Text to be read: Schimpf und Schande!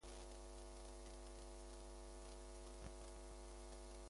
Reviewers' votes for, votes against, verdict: 0, 2, rejected